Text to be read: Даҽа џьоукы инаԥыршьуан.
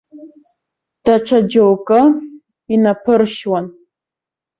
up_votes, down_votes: 2, 0